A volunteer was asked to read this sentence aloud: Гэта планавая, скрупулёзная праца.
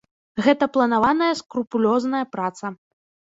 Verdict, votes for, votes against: rejected, 1, 2